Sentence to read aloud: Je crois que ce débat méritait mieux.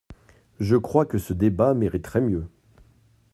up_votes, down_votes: 0, 2